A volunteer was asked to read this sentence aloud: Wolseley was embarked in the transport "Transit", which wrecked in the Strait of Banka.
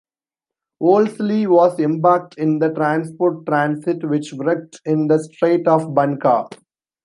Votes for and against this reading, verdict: 0, 2, rejected